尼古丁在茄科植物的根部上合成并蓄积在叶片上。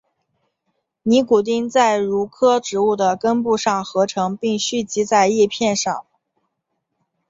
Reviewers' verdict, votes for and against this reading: accepted, 3, 0